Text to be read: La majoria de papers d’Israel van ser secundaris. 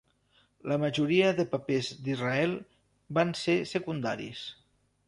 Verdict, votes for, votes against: accepted, 3, 0